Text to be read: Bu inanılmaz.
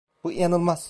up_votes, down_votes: 1, 2